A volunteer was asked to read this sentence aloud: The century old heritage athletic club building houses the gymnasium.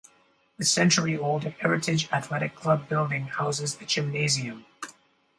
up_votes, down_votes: 0, 2